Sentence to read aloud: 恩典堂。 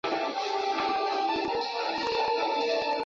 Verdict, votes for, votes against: rejected, 0, 2